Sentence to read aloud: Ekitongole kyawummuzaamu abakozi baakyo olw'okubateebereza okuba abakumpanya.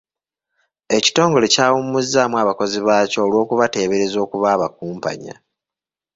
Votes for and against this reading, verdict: 2, 0, accepted